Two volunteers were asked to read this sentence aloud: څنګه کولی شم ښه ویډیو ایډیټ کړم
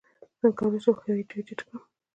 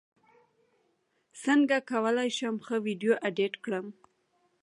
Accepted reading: second